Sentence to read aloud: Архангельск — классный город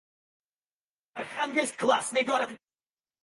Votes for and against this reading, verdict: 0, 4, rejected